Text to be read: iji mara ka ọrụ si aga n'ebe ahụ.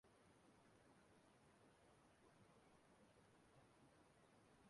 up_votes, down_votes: 0, 2